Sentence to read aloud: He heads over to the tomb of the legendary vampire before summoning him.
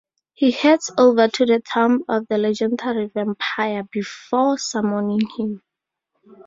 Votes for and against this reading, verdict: 4, 0, accepted